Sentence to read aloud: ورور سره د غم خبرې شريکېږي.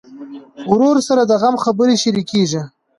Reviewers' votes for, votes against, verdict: 2, 0, accepted